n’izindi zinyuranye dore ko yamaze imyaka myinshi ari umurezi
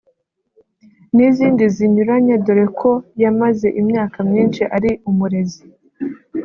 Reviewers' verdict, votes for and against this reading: accepted, 2, 0